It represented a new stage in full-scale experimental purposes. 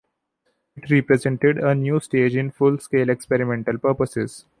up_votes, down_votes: 0, 2